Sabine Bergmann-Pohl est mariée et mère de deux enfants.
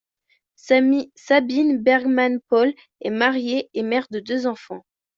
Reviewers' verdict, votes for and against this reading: rejected, 0, 2